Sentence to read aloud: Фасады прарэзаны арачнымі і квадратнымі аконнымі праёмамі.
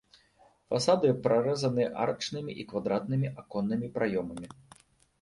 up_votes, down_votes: 2, 0